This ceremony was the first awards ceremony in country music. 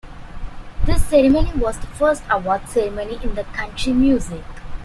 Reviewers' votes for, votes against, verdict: 0, 2, rejected